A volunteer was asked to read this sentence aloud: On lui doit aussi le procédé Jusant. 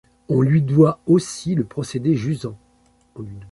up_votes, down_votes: 0, 2